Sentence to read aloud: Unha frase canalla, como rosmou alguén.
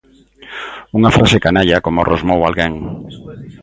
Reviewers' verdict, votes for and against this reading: accepted, 2, 0